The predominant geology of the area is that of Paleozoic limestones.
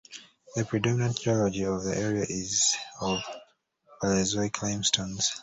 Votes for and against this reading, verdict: 1, 2, rejected